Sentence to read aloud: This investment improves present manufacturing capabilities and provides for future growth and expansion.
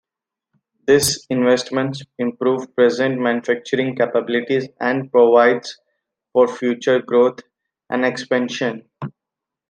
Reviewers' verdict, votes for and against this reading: rejected, 1, 2